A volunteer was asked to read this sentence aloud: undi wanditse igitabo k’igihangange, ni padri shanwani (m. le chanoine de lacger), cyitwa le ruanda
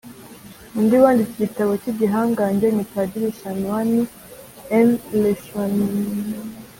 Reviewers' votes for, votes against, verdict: 1, 3, rejected